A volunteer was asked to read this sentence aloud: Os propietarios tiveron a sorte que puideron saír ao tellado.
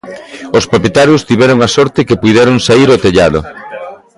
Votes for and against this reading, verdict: 2, 0, accepted